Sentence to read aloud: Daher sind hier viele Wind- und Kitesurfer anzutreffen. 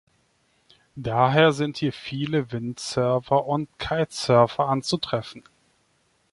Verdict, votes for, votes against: rejected, 0, 2